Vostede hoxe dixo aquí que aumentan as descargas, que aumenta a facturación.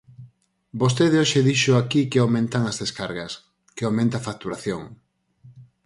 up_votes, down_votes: 4, 0